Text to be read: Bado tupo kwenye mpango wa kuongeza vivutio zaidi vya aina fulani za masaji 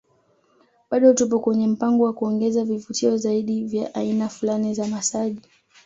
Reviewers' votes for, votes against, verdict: 2, 0, accepted